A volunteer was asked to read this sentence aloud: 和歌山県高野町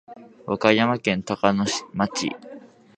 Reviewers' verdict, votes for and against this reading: accepted, 2, 1